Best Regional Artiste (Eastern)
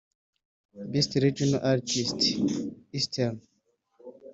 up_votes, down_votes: 1, 2